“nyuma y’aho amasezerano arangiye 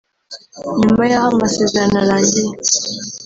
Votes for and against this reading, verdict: 0, 2, rejected